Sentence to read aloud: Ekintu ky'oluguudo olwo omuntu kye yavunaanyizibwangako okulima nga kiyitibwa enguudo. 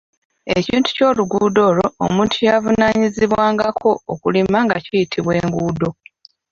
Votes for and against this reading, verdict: 0, 2, rejected